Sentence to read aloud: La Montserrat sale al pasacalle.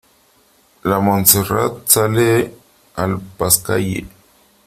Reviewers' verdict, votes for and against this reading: rejected, 0, 3